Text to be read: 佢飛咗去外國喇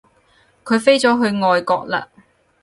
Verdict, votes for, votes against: accepted, 4, 2